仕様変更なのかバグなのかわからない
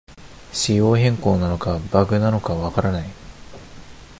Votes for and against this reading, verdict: 2, 0, accepted